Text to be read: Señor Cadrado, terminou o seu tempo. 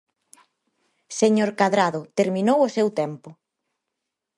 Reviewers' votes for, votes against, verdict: 4, 0, accepted